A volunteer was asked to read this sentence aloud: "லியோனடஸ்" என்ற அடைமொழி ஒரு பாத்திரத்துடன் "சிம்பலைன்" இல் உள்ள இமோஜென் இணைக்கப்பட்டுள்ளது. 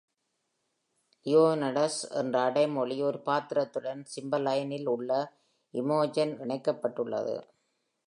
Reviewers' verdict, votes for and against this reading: accepted, 2, 0